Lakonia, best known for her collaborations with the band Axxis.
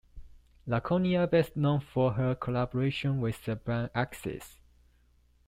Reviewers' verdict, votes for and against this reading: accepted, 2, 0